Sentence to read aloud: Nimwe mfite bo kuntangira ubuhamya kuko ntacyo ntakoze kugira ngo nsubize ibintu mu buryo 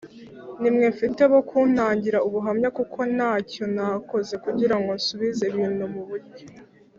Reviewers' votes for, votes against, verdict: 2, 0, accepted